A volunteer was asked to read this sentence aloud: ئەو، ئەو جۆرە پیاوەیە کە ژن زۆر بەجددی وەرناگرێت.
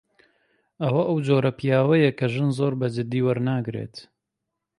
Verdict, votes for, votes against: rejected, 1, 2